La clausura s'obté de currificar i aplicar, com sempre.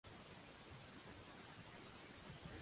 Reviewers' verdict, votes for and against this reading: rejected, 0, 2